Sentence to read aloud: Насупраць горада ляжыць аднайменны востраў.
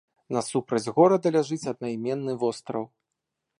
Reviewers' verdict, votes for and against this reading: accepted, 2, 0